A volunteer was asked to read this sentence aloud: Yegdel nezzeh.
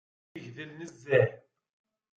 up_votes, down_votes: 1, 2